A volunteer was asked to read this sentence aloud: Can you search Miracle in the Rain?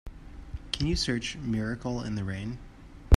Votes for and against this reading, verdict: 4, 0, accepted